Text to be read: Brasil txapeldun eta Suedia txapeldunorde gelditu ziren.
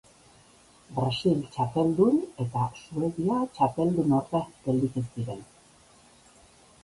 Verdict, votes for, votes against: accepted, 2, 0